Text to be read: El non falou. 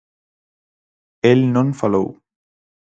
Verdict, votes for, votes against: accepted, 4, 0